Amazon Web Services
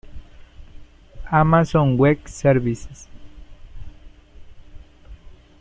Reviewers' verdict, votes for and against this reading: rejected, 0, 2